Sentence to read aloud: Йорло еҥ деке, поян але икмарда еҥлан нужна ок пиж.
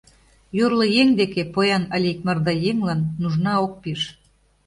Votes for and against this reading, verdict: 2, 0, accepted